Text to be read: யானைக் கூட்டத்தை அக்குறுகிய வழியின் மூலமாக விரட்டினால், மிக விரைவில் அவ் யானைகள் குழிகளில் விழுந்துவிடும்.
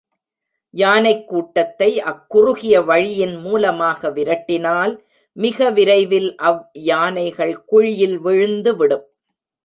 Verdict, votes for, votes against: rejected, 1, 2